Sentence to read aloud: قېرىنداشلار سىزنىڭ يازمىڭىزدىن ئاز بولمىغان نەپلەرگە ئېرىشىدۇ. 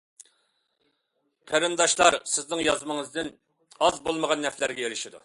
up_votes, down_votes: 2, 0